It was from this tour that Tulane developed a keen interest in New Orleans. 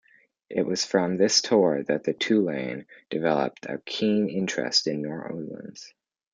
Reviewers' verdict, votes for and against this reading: rejected, 1, 2